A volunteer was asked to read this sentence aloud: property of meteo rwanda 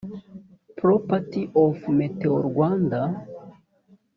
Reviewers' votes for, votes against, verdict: 0, 2, rejected